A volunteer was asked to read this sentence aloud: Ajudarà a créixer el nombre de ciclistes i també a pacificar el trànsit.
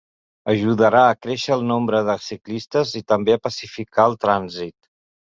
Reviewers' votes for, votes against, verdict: 2, 0, accepted